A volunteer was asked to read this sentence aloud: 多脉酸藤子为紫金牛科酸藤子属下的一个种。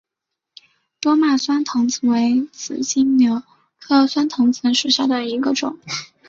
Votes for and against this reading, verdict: 3, 1, accepted